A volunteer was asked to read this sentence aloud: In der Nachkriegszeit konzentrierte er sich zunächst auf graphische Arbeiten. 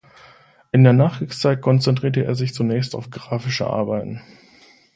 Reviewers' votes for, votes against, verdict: 2, 0, accepted